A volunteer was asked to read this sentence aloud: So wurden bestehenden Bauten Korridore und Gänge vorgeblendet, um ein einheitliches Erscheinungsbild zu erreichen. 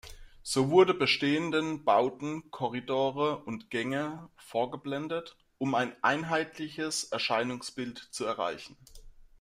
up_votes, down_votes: 0, 2